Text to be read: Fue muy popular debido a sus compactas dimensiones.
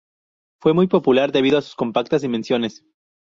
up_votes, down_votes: 0, 2